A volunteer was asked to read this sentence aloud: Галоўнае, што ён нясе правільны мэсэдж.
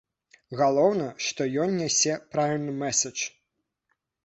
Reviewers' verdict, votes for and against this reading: accepted, 2, 0